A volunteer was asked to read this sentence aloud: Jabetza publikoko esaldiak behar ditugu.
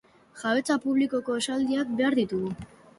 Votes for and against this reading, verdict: 1, 2, rejected